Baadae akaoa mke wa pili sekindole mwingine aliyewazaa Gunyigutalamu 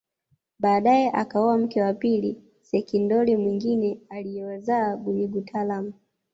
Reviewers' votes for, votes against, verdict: 1, 2, rejected